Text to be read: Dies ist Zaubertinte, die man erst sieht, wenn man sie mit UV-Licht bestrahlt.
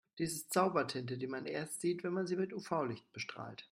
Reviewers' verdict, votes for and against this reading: accepted, 2, 0